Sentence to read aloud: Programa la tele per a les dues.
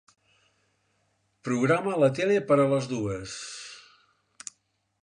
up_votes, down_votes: 3, 0